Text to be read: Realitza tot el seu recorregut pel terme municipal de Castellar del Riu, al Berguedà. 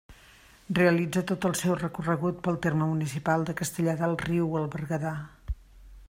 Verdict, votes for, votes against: accepted, 2, 0